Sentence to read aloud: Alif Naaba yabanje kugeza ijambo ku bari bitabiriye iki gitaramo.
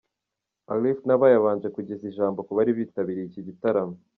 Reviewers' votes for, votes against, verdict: 0, 2, rejected